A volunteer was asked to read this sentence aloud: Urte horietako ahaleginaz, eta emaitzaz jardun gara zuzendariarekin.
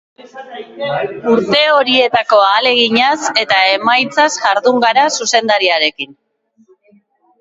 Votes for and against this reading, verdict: 0, 2, rejected